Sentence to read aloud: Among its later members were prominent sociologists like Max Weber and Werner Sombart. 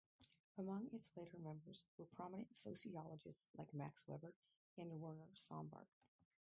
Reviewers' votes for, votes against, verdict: 2, 4, rejected